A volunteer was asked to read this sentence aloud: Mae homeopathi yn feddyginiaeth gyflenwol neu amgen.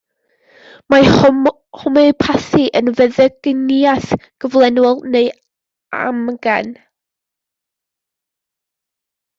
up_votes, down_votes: 0, 2